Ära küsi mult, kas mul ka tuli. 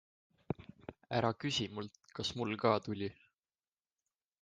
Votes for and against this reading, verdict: 2, 0, accepted